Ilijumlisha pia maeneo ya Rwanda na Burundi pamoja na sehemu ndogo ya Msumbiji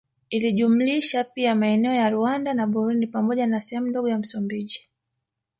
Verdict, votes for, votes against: rejected, 1, 2